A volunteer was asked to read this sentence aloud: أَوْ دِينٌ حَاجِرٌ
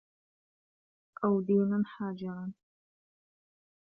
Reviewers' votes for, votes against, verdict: 1, 2, rejected